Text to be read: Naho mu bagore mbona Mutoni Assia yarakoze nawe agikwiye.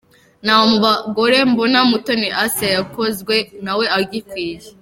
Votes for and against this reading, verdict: 1, 3, rejected